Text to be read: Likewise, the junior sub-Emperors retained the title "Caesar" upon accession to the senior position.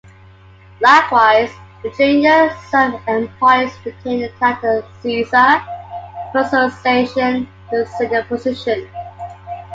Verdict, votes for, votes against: accepted, 2, 1